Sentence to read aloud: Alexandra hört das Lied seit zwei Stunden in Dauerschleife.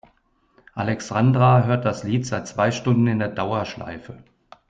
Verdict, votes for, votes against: rejected, 0, 2